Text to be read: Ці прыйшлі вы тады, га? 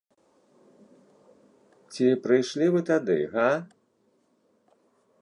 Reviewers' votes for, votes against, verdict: 2, 0, accepted